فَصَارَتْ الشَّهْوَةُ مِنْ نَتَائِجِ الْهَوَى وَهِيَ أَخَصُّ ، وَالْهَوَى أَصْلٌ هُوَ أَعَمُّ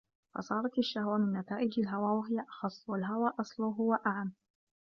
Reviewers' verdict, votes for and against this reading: rejected, 1, 2